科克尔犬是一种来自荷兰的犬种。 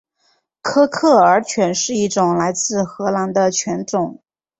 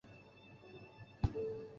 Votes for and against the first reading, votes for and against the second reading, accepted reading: 8, 0, 1, 3, first